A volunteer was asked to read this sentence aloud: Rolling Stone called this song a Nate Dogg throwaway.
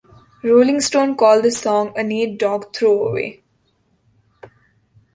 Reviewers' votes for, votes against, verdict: 2, 0, accepted